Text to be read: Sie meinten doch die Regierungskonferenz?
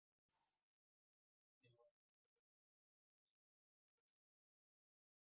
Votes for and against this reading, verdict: 0, 2, rejected